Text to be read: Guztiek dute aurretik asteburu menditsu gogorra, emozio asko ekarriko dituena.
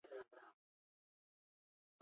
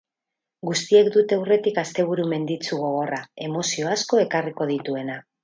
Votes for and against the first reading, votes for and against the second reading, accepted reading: 0, 8, 4, 0, second